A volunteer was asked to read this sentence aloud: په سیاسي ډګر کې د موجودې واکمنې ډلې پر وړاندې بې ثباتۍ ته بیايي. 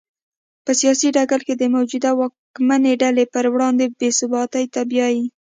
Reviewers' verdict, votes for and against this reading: accepted, 2, 0